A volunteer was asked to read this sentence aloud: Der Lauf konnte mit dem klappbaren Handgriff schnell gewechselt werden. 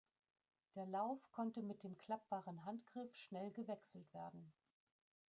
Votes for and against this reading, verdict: 2, 1, accepted